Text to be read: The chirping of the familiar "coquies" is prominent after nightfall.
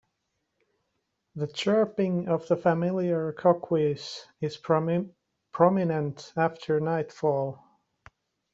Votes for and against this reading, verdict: 0, 2, rejected